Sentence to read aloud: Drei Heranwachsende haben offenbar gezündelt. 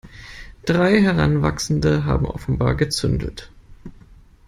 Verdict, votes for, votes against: accepted, 2, 0